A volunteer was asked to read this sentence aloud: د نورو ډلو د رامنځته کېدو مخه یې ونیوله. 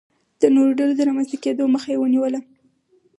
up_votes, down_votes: 4, 2